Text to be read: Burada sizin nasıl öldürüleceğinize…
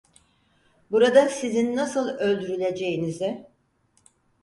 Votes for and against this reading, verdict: 4, 0, accepted